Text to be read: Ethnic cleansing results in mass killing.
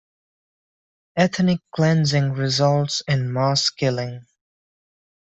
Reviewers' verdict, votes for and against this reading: accepted, 2, 0